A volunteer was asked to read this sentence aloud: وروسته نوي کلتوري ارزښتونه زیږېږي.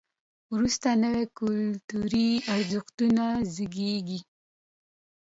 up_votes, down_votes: 2, 0